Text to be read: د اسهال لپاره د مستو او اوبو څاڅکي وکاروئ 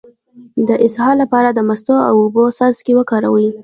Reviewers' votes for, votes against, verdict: 0, 2, rejected